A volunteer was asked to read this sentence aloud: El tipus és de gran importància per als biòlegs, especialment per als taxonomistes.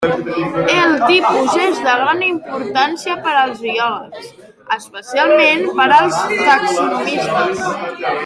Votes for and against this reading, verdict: 0, 2, rejected